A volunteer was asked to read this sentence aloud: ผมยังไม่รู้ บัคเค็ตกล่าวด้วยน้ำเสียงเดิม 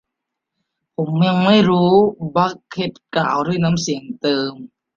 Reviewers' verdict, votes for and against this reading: accepted, 2, 0